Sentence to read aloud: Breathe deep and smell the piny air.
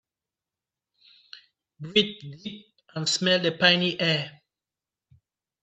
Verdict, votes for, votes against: rejected, 1, 2